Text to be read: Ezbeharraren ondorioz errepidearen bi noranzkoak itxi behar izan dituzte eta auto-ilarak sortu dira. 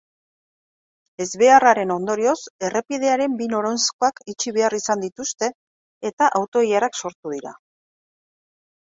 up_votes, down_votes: 0, 2